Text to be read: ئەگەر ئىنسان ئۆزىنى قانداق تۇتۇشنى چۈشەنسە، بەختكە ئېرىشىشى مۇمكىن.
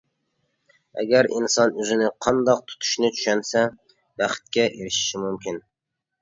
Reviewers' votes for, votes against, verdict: 2, 0, accepted